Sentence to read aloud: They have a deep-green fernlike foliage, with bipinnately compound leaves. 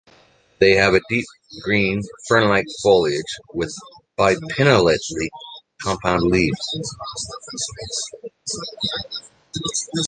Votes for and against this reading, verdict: 2, 1, accepted